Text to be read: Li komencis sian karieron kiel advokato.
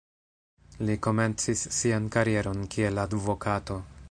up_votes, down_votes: 1, 2